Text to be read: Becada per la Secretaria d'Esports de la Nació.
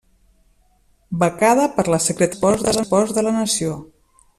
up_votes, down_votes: 0, 2